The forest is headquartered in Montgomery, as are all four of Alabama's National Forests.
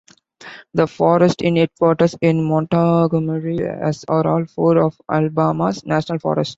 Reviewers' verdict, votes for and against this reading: rejected, 0, 2